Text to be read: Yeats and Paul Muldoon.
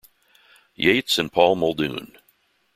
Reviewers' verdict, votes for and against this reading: accepted, 2, 0